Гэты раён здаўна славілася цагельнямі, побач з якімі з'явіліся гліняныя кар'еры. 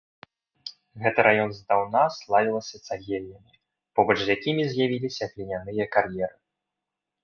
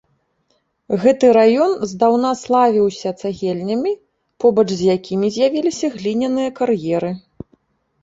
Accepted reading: first